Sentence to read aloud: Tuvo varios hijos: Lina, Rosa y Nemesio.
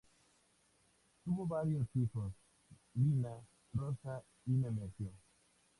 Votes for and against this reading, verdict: 0, 2, rejected